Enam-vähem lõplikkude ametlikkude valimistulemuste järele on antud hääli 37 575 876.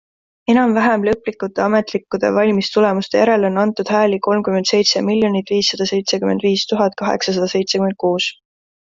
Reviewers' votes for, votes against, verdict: 0, 2, rejected